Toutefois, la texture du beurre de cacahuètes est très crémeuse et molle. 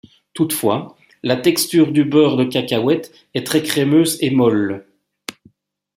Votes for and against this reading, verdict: 2, 0, accepted